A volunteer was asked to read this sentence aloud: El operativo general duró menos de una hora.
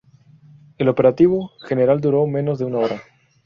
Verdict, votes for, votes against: accepted, 4, 0